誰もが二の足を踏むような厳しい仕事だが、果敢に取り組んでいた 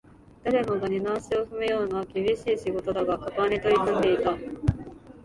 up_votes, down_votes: 2, 0